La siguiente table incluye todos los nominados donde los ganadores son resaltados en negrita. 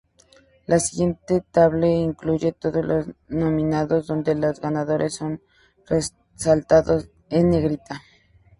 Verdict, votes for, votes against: rejected, 0, 2